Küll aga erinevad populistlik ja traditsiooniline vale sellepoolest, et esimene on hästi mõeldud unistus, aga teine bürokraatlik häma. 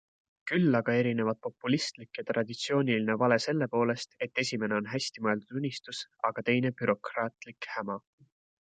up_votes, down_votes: 2, 0